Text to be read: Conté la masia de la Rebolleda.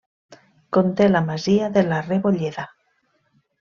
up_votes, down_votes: 2, 0